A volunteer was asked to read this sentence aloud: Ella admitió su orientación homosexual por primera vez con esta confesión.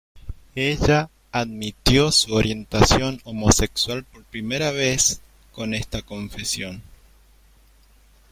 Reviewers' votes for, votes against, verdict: 2, 1, accepted